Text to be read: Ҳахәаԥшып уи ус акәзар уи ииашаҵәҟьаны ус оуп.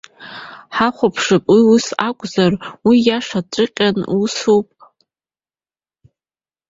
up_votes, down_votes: 1, 2